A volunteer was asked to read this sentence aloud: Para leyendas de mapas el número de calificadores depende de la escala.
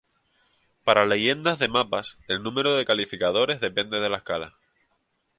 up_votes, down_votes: 2, 0